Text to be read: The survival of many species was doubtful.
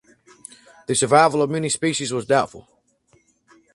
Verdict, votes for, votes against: accepted, 4, 0